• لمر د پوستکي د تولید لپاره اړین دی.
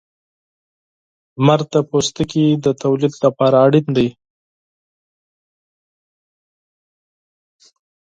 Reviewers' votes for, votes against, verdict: 4, 2, accepted